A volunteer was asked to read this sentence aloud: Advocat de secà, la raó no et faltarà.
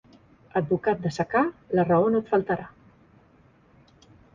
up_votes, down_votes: 3, 0